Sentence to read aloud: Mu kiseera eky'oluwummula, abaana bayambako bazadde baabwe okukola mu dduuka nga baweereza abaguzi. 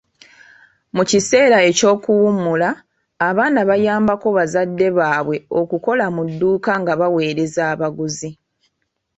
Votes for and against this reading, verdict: 2, 0, accepted